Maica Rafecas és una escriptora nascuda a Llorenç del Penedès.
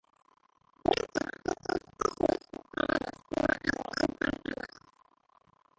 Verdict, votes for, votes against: rejected, 0, 3